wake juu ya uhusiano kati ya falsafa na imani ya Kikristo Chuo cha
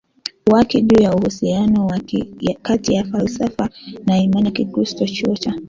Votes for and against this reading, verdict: 1, 2, rejected